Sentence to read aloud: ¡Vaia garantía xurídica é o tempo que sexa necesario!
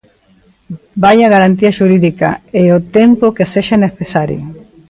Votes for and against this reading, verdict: 2, 0, accepted